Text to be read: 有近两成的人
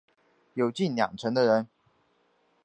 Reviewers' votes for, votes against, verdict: 2, 0, accepted